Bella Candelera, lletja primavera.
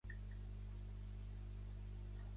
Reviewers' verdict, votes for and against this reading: rejected, 1, 2